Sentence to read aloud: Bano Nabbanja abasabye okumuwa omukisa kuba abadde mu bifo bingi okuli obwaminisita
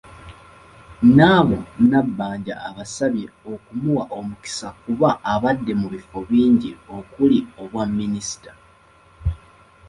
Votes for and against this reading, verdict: 1, 2, rejected